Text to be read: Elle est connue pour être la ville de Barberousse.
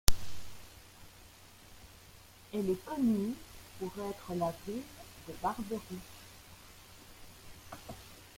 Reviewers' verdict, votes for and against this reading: rejected, 0, 3